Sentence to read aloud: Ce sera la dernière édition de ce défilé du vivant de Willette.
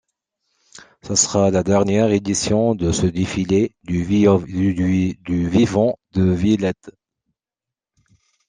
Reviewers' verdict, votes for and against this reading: rejected, 0, 2